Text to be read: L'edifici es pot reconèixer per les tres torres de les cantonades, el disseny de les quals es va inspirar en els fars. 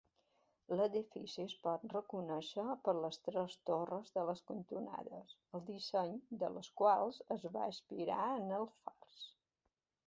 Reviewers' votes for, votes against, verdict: 3, 1, accepted